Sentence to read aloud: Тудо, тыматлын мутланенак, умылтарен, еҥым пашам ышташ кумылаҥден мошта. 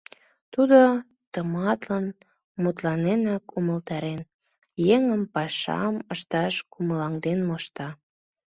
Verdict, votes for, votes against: accepted, 2, 1